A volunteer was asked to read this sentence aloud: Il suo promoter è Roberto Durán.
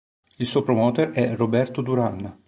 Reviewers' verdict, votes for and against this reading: accepted, 3, 0